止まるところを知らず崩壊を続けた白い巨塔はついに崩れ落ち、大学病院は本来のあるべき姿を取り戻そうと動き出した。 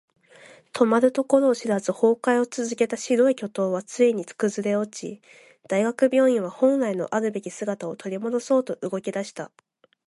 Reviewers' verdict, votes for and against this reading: accepted, 2, 0